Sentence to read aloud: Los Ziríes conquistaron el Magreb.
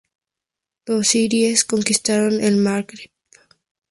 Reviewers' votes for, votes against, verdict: 4, 0, accepted